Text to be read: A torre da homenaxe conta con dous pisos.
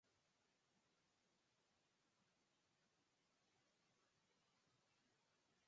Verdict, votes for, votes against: rejected, 0, 6